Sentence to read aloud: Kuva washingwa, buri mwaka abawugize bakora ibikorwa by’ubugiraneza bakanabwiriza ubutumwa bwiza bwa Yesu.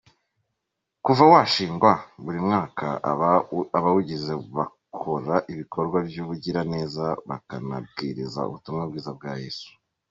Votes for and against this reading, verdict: 1, 2, rejected